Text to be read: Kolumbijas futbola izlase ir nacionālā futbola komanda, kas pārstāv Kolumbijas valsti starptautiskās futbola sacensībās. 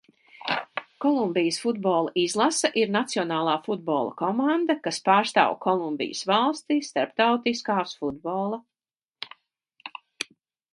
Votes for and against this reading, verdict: 0, 2, rejected